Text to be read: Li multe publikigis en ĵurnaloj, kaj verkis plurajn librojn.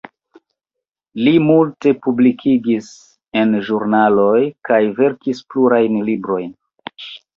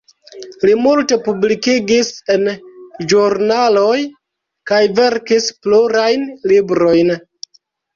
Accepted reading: first